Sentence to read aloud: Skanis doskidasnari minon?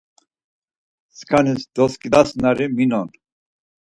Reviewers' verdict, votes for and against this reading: accepted, 4, 0